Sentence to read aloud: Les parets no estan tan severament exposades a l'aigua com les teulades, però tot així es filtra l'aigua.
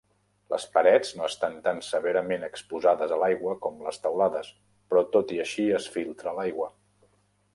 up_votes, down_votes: 1, 2